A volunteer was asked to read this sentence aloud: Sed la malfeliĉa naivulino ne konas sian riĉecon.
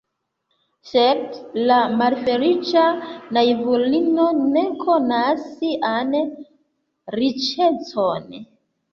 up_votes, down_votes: 2, 1